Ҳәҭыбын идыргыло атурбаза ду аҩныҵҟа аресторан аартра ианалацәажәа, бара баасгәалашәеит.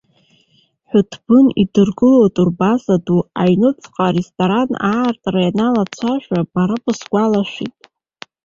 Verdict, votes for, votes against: rejected, 1, 2